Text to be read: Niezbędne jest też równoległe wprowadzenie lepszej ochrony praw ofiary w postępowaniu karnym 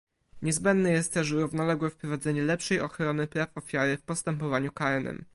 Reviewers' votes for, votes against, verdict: 2, 1, accepted